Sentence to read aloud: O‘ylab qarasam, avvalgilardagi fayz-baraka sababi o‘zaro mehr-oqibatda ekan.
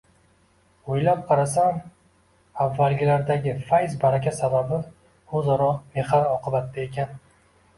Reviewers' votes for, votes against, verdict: 2, 0, accepted